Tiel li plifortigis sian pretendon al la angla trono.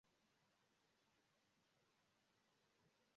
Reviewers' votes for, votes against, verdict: 1, 2, rejected